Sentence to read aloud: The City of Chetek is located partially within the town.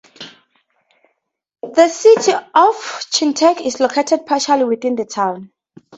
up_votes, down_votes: 2, 0